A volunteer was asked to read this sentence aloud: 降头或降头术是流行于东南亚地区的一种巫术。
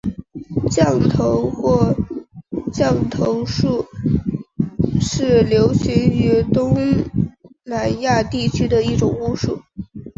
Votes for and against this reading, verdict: 5, 0, accepted